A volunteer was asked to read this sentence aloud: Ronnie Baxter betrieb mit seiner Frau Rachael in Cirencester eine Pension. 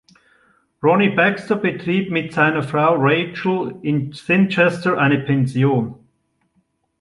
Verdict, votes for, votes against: rejected, 0, 2